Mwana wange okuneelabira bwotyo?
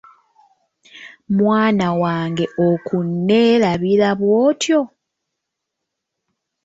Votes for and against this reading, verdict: 1, 3, rejected